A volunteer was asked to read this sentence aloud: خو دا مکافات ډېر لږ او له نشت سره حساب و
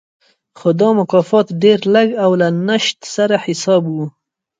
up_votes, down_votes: 0, 2